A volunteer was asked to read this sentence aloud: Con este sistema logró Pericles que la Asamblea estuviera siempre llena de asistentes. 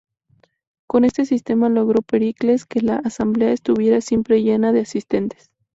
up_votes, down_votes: 2, 0